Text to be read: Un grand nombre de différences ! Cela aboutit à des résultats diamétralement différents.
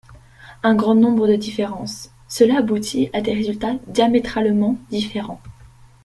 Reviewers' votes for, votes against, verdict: 2, 0, accepted